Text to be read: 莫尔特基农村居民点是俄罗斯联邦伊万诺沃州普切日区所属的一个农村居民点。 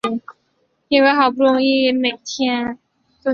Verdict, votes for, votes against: rejected, 1, 3